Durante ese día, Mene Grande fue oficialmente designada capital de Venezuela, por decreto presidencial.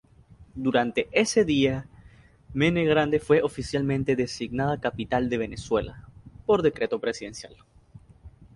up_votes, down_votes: 2, 0